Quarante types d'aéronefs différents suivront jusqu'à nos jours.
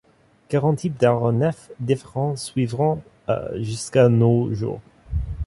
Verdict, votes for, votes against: rejected, 1, 2